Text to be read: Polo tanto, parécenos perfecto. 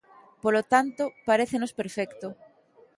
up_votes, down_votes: 2, 0